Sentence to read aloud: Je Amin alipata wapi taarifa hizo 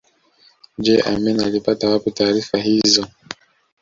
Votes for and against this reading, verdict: 2, 0, accepted